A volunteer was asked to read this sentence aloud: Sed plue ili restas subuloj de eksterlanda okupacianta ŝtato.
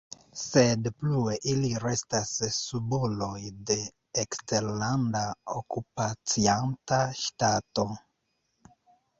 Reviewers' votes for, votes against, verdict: 2, 1, accepted